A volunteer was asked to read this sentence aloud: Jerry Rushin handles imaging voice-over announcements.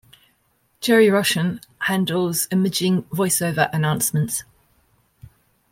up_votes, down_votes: 0, 2